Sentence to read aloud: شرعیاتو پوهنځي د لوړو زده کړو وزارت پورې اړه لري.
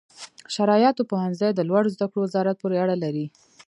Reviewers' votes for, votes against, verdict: 2, 0, accepted